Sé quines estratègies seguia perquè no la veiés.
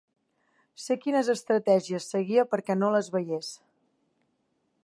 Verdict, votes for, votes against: rejected, 1, 2